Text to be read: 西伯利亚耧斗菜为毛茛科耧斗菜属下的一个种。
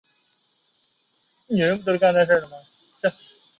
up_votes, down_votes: 0, 4